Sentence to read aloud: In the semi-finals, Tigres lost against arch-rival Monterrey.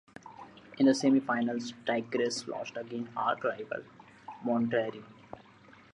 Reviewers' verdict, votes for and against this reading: rejected, 1, 2